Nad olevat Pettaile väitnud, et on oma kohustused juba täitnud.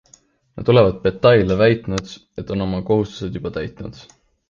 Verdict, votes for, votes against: accepted, 2, 1